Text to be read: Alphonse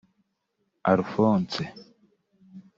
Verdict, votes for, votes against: rejected, 1, 2